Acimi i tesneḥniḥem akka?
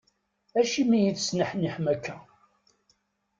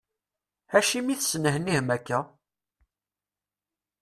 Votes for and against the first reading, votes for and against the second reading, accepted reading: 2, 0, 0, 2, first